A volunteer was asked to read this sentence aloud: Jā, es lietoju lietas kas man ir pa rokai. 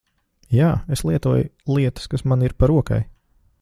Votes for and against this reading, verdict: 2, 0, accepted